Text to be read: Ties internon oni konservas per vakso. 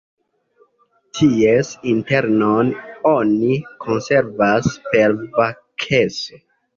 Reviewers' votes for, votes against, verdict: 1, 2, rejected